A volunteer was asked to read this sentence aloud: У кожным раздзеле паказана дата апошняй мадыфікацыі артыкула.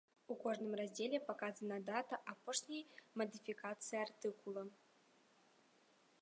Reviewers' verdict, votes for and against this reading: rejected, 1, 2